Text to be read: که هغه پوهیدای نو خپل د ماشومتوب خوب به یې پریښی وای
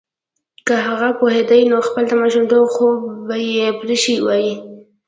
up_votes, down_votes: 1, 2